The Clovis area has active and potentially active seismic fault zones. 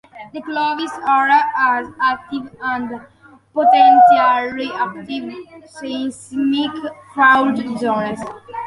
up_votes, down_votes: 0, 2